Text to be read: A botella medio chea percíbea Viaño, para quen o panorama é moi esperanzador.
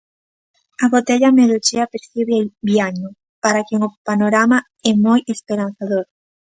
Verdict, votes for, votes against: accepted, 2, 1